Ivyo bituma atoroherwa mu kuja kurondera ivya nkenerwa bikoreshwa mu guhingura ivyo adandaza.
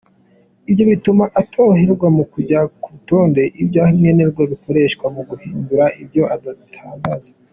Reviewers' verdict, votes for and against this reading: rejected, 0, 2